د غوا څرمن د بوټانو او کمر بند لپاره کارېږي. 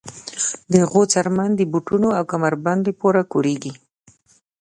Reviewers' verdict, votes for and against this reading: accepted, 2, 0